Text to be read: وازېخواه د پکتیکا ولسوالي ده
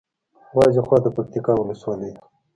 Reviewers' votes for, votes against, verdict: 2, 1, accepted